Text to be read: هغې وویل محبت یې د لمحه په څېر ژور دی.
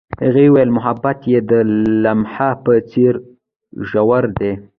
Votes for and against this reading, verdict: 2, 0, accepted